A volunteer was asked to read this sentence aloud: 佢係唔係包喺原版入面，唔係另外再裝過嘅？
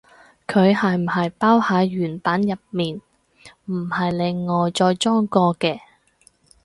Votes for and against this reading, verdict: 4, 0, accepted